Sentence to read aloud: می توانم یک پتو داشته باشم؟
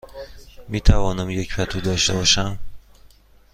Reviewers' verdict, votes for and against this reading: accepted, 2, 0